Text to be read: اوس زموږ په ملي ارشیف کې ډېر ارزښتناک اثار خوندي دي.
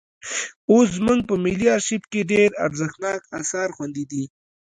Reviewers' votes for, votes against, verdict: 2, 1, accepted